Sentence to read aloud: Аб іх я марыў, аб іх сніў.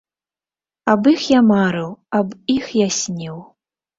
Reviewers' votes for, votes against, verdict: 1, 2, rejected